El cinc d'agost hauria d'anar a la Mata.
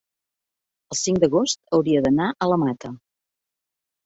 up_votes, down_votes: 3, 0